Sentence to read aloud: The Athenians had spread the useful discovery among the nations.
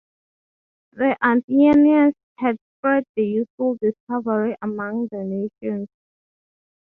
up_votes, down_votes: 3, 0